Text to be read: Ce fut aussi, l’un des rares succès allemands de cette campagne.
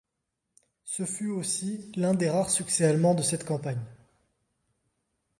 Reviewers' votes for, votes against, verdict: 1, 2, rejected